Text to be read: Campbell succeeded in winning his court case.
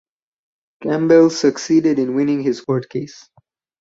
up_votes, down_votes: 4, 0